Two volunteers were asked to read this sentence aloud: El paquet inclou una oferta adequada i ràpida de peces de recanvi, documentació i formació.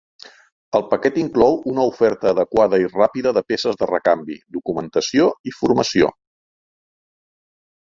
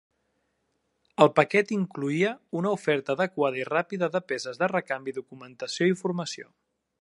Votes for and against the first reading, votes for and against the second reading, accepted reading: 4, 0, 0, 2, first